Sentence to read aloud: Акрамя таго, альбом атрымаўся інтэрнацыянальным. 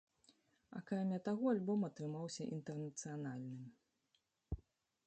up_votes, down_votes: 0, 2